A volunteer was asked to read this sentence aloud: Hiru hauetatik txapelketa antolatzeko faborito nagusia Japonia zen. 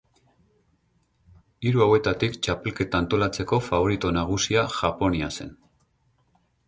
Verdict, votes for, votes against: accepted, 8, 0